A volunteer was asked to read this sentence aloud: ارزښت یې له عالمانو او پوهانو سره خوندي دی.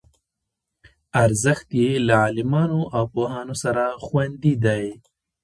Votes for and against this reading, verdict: 1, 2, rejected